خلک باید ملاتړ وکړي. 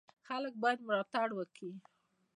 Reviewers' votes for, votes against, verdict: 2, 1, accepted